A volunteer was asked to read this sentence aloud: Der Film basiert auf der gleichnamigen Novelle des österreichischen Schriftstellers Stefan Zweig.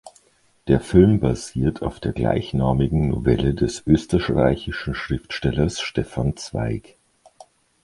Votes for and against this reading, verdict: 0, 2, rejected